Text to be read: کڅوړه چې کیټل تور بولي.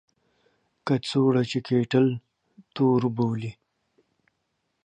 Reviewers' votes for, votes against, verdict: 2, 1, accepted